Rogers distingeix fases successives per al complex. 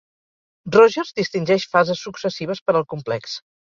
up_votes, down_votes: 4, 0